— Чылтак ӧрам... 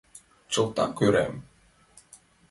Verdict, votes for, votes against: accepted, 2, 0